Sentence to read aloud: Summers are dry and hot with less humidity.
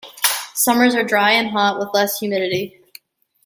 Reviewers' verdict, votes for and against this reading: accepted, 2, 0